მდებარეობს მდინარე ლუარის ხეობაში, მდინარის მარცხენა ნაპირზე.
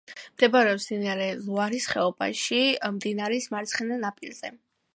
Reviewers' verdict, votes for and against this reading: accepted, 2, 0